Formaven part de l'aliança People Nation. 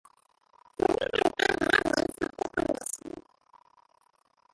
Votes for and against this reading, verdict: 0, 3, rejected